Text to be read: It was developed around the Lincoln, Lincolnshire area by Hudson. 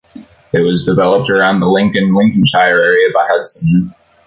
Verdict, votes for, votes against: rejected, 1, 2